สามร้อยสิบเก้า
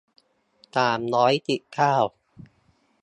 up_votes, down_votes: 1, 2